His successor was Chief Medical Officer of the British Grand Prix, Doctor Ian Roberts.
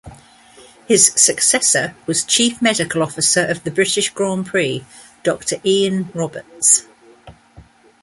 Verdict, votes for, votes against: accepted, 2, 0